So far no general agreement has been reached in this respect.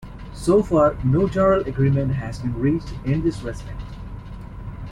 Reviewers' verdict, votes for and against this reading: rejected, 1, 2